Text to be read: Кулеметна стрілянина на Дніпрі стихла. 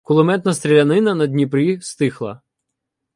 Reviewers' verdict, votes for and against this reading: accepted, 2, 0